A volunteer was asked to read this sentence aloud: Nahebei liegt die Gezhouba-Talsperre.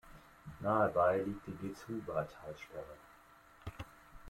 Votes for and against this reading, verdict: 2, 0, accepted